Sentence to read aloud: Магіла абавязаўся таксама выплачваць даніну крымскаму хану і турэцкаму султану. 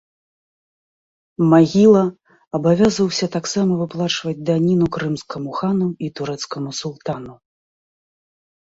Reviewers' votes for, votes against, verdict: 2, 0, accepted